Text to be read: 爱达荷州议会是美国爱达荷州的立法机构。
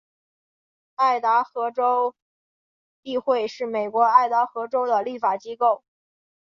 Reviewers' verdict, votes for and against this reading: accepted, 5, 0